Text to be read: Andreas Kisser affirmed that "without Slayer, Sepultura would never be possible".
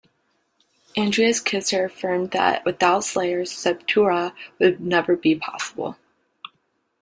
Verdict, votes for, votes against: rejected, 0, 2